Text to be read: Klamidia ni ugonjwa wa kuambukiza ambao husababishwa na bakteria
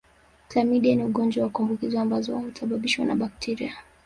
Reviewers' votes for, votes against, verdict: 0, 2, rejected